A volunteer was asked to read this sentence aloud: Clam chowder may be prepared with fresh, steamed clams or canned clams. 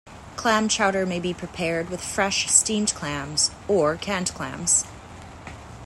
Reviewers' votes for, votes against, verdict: 2, 0, accepted